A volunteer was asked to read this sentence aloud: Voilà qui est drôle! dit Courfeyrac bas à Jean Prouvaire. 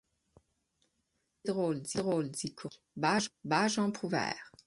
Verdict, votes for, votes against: rejected, 0, 6